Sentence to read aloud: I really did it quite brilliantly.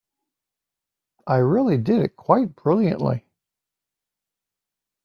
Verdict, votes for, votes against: accepted, 2, 0